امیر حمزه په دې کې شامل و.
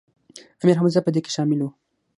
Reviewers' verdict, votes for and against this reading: accepted, 6, 0